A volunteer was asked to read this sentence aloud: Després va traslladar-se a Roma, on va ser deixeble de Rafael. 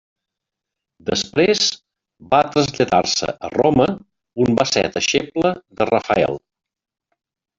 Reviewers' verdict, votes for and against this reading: rejected, 1, 2